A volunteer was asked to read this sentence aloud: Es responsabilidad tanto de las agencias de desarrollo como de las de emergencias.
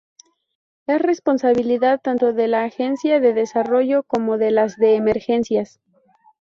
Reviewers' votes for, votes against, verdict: 0, 4, rejected